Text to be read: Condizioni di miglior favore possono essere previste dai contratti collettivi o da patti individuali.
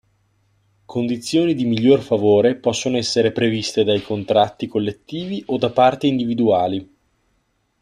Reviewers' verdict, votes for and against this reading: rejected, 0, 2